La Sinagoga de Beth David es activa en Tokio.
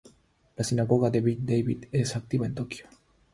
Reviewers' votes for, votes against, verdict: 3, 0, accepted